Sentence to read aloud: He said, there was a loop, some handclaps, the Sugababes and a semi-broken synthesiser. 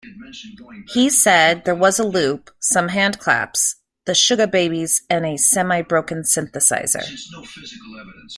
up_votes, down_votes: 1, 2